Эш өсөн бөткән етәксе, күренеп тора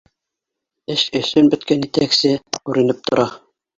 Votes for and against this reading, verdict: 1, 2, rejected